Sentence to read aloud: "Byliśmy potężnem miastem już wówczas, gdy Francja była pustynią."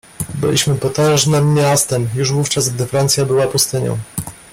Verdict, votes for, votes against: accepted, 2, 0